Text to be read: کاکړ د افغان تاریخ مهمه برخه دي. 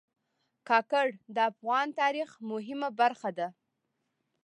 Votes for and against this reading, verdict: 2, 0, accepted